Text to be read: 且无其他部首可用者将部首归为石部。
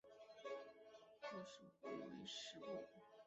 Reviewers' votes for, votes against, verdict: 1, 4, rejected